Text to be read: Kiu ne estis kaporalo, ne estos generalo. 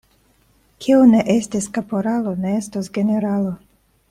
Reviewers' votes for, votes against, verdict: 2, 0, accepted